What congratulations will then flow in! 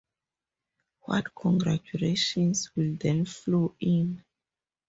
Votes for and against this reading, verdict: 2, 0, accepted